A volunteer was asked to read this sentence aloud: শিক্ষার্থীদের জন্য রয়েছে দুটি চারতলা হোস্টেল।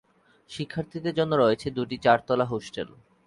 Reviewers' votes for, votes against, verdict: 6, 0, accepted